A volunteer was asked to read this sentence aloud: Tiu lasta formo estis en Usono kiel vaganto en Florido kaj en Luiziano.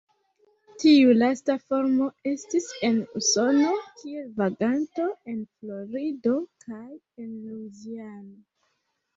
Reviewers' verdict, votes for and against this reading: rejected, 1, 2